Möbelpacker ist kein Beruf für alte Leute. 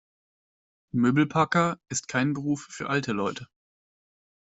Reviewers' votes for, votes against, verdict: 2, 0, accepted